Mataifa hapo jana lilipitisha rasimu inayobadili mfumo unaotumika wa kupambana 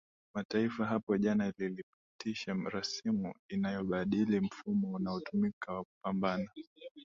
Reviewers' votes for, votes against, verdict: 2, 0, accepted